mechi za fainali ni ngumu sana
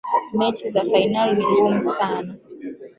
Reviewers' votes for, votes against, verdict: 1, 2, rejected